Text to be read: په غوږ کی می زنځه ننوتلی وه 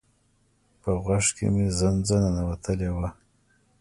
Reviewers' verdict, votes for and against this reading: accepted, 2, 0